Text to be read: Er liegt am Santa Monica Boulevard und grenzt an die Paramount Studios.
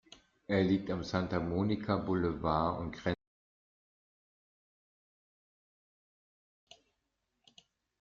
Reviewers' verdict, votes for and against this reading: rejected, 0, 2